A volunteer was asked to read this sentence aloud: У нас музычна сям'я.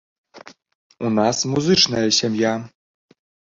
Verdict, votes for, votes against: accepted, 2, 0